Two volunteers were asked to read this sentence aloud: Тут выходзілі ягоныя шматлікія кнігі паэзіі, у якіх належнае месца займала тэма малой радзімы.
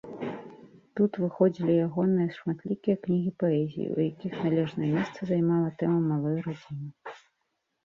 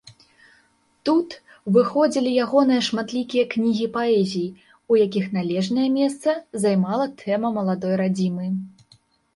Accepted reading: first